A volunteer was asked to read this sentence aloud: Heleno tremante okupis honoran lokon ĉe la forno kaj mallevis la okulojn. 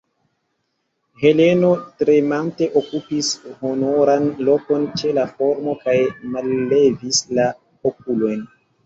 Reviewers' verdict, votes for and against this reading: accepted, 2, 0